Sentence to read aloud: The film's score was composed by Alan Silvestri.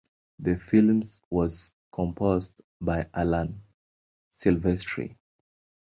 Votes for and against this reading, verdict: 0, 2, rejected